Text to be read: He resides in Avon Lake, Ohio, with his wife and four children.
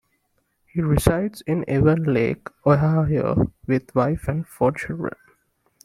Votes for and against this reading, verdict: 0, 2, rejected